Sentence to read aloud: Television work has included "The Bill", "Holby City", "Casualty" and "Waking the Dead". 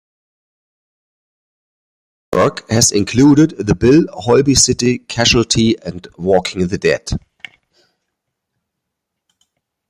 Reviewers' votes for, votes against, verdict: 0, 2, rejected